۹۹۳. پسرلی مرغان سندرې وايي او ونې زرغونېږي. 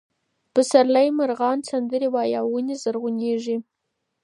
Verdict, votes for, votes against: rejected, 0, 2